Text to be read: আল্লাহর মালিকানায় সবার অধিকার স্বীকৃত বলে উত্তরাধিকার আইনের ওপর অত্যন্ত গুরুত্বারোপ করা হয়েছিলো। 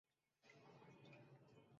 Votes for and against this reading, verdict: 0, 4, rejected